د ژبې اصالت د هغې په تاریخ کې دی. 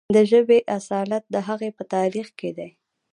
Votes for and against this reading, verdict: 0, 2, rejected